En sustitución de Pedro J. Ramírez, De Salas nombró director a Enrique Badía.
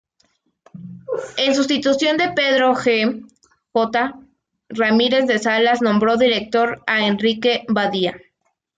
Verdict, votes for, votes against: rejected, 2, 3